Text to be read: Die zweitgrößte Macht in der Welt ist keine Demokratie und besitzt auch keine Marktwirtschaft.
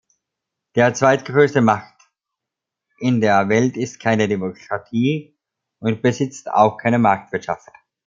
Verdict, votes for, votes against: rejected, 0, 2